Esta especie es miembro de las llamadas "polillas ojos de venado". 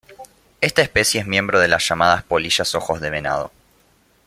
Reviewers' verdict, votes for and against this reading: rejected, 1, 2